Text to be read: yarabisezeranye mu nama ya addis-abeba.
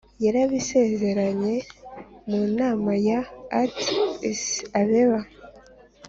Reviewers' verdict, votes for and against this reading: accepted, 4, 0